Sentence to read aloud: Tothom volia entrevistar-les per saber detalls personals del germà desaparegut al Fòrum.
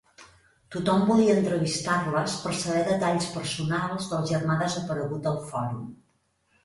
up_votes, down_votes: 2, 0